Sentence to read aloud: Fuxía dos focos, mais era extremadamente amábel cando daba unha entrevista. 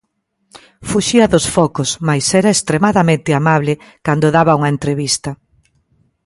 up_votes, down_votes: 0, 3